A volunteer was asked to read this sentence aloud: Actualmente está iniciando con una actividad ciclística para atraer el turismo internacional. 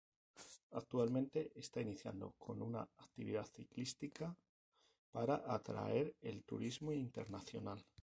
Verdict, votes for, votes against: rejected, 0, 2